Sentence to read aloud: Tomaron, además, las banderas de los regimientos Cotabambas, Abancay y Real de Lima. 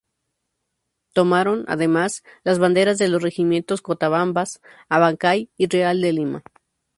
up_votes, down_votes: 2, 0